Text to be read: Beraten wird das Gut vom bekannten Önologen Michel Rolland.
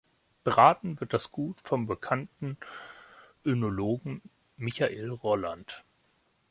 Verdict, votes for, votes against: rejected, 0, 2